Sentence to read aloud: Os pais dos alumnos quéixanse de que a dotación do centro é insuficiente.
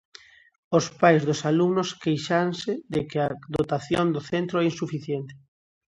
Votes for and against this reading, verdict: 0, 2, rejected